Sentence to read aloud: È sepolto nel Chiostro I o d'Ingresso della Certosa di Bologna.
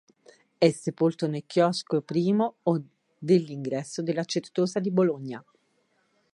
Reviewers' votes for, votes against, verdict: 1, 3, rejected